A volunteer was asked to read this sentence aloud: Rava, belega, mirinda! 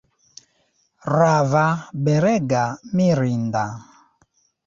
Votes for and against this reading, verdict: 1, 2, rejected